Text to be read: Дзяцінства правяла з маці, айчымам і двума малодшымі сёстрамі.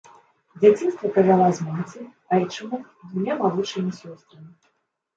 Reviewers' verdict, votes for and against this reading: rejected, 1, 2